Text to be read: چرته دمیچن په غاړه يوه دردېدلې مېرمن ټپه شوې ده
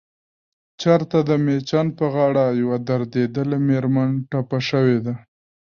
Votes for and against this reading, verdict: 1, 2, rejected